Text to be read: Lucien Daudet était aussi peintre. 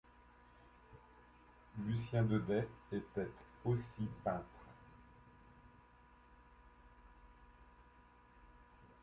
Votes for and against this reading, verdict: 2, 0, accepted